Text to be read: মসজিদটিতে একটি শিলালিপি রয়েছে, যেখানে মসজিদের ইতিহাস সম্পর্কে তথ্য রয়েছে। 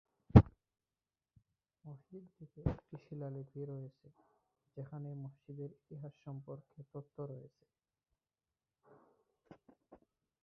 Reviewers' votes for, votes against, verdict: 0, 2, rejected